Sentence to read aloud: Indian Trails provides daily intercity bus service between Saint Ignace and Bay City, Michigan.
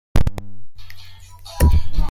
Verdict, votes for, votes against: rejected, 0, 2